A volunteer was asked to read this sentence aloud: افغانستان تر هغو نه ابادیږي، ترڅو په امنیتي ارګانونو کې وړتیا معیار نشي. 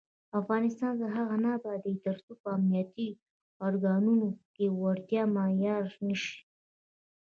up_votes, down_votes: 2, 0